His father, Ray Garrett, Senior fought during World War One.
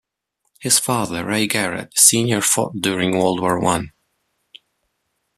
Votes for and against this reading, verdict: 2, 0, accepted